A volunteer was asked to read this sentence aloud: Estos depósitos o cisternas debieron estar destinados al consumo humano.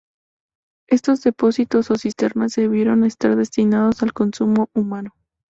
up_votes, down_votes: 2, 0